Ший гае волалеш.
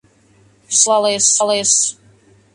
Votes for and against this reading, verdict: 0, 2, rejected